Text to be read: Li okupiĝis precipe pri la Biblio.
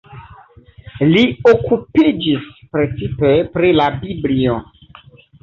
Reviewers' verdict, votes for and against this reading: rejected, 1, 2